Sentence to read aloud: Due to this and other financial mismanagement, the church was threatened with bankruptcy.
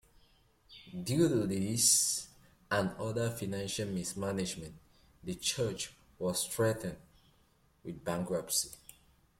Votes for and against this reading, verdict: 2, 1, accepted